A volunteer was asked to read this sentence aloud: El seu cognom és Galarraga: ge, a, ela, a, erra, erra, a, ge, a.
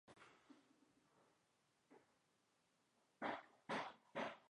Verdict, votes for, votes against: rejected, 0, 2